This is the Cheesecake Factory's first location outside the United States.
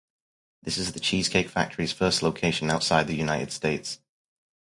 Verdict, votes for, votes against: accepted, 4, 0